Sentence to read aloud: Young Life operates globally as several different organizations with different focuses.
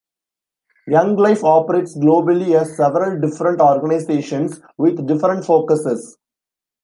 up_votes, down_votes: 2, 0